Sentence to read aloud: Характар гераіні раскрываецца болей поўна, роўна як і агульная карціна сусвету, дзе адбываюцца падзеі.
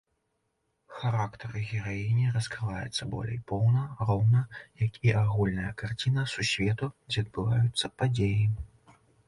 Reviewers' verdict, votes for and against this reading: accepted, 2, 0